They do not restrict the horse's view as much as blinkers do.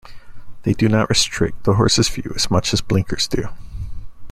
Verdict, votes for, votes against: accepted, 2, 0